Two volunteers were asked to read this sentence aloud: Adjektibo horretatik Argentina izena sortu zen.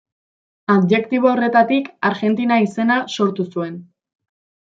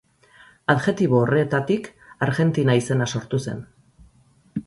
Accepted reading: second